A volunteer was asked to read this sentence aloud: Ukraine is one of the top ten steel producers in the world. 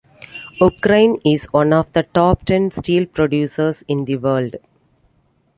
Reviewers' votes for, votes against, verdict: 2, 0, accepted